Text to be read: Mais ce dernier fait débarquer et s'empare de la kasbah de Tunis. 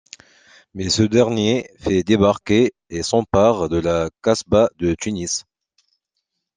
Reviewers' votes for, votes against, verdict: 2, 0, accepted